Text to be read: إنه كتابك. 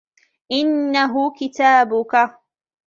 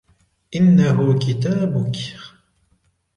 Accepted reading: second